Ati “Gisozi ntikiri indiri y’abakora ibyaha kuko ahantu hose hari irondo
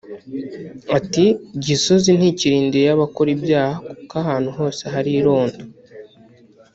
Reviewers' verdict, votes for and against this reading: rejected, 1, 2